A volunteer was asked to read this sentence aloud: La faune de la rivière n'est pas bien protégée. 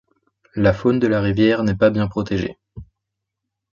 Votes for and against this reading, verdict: 2, 0, accepted